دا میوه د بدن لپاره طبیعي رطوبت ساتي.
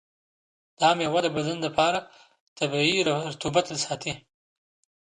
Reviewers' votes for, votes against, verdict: 1, 2, rejected